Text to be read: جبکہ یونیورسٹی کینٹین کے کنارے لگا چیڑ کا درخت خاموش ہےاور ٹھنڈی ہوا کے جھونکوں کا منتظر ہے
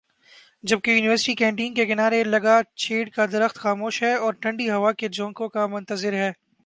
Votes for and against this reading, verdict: 2, 0, accepted